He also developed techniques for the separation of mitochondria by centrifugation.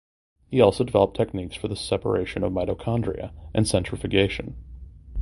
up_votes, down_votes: 1, 2